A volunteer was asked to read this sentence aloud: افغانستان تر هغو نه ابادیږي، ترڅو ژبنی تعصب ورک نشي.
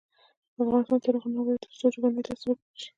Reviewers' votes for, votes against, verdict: 0, 2, rejected